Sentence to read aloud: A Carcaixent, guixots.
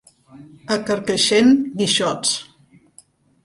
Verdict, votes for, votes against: accepted, 3, 0